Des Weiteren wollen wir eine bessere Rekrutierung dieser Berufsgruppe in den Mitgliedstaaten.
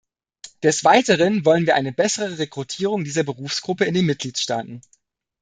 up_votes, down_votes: 2, 0